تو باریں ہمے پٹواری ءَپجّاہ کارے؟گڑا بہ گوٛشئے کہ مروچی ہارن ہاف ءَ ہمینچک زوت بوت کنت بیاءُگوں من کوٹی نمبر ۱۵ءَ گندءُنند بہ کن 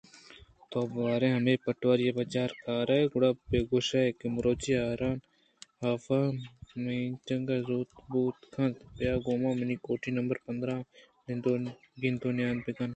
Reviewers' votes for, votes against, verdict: 0, 2, rejected